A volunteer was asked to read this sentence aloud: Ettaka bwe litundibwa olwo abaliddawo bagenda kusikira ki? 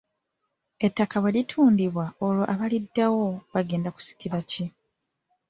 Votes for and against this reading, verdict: 1, 2, rejected